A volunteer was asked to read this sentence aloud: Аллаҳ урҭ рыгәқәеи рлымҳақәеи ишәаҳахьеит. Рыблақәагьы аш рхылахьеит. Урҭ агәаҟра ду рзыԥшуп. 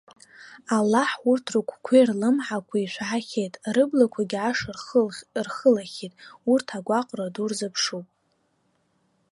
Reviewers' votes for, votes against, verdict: 0, 2, rejected